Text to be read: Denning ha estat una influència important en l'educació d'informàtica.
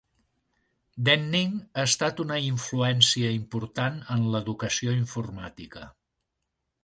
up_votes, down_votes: 1, 2